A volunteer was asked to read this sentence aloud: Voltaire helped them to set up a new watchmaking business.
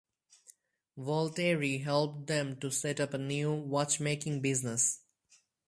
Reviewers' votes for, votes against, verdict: 4, 0, accepted